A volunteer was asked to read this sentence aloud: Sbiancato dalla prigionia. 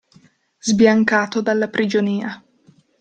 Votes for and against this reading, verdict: 2, 0, accepted